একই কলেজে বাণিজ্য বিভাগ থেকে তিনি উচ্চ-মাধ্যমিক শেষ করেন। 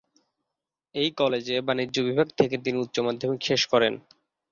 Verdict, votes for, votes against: accepted, 2, 1